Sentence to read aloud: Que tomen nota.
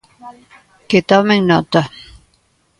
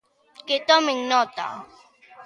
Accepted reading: second